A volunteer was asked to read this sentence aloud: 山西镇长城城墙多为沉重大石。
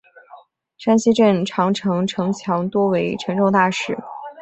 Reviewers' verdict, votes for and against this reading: accepted, 5, 0